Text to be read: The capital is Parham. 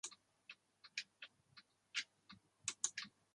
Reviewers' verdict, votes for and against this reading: rejected, 0, 2